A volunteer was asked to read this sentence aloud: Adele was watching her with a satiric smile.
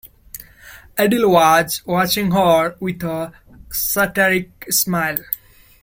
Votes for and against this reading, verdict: 1, 2, rejected